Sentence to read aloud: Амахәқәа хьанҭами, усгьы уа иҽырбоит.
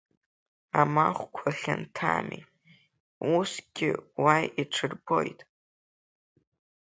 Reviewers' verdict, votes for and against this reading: rejected, 0, 2